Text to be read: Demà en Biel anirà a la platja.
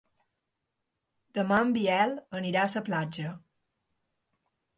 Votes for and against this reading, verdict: 1, 2, rejected